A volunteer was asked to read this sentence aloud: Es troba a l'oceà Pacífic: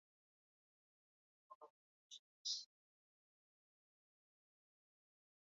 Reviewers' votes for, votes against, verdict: 0, 2, rejected